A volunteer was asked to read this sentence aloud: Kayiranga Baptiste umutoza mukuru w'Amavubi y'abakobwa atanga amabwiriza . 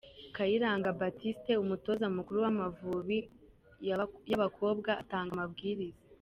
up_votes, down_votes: 1, 2